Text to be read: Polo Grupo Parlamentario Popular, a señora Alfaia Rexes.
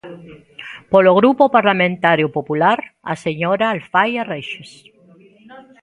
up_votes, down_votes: 2, 1